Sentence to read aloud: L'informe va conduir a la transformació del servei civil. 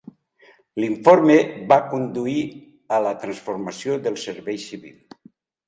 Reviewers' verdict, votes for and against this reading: accepted, 2, 0